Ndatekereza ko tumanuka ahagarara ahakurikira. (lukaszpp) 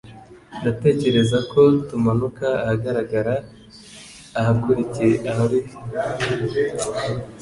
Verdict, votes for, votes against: rejected, 0, 2